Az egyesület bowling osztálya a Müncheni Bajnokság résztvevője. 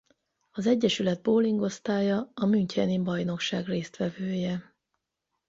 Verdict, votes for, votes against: accepted, 8, 0